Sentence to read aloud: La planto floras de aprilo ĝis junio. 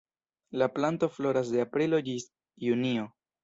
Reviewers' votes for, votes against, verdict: 1, 2, rejected